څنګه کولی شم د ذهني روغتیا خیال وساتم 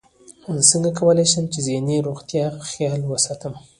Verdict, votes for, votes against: rejected, 0, 2